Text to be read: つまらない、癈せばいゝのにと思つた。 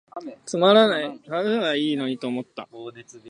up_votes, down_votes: 0, 4